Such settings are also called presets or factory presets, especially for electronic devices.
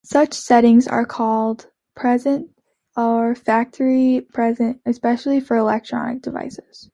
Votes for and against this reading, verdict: 0, 2, rejected